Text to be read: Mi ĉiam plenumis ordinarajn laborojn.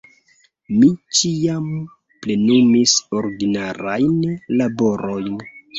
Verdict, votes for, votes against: rejected, 0, 2